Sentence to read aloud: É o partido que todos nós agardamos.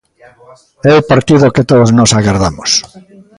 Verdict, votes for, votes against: rejected, 1, 2